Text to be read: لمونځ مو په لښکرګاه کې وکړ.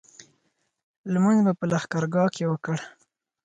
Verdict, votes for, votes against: accepted, 4, 0